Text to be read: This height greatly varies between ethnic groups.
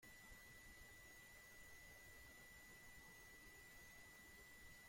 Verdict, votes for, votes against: rejected, 0, 2